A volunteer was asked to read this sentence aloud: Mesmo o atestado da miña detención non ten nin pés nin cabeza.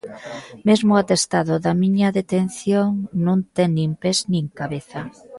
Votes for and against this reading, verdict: 2, 0, accepted